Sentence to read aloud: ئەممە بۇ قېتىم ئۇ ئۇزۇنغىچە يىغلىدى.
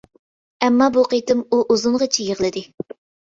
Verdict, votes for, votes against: accepted, 2, 0